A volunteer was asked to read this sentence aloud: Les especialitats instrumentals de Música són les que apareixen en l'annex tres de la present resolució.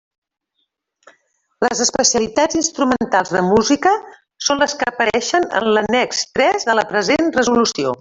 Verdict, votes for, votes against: accepted, 3, 0